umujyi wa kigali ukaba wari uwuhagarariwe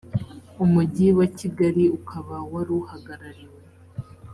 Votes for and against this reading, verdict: 4, 0, accepted